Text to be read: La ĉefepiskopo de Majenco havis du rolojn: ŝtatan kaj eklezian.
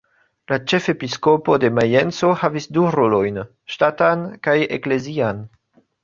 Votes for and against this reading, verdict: 2, 1, accepted